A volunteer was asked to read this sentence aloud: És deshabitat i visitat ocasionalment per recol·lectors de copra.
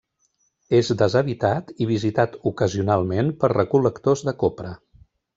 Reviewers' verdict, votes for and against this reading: accepted, 3, 0